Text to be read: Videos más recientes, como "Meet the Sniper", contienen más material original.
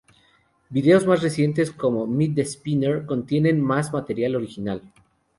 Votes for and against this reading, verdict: 0, 2, rejected